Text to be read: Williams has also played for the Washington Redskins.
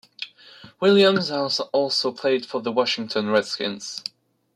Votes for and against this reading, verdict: 2, 0, accepted